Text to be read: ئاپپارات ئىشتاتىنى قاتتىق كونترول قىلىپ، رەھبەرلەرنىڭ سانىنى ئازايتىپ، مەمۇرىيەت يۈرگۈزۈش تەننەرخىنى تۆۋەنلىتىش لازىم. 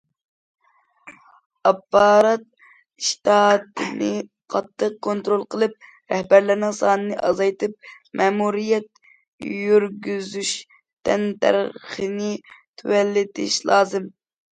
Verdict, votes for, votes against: rejected, 0, 2